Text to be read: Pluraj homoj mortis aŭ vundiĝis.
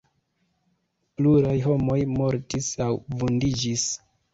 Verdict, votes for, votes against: accepted, 2, 1